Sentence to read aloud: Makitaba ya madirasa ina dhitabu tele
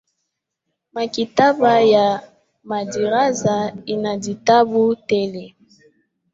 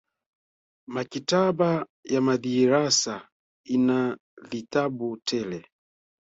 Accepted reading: first